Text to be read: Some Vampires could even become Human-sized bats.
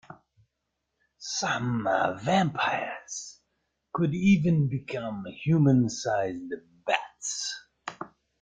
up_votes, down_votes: 2, 1